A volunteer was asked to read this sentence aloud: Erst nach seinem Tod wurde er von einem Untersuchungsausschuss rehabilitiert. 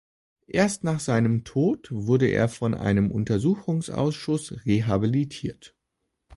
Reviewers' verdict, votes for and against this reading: accepted, 2, 0